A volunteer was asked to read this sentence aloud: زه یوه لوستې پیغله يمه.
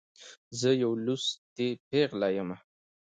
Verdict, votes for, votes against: accepted, 2, 0